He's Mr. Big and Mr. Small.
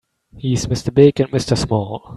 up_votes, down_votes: 3, 0